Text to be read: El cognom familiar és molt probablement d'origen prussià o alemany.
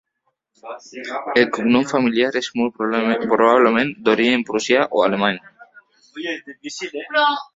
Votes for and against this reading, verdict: 0, 2, rejected